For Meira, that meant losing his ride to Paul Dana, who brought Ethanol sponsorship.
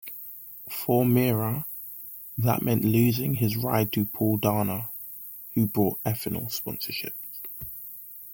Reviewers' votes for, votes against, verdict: 2, 0, accepted